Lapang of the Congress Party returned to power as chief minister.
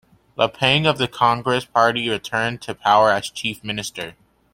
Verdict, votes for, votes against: accepted, 2, 0